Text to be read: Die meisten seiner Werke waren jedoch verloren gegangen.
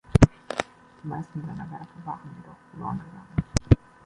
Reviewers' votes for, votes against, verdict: 2, 1, accepted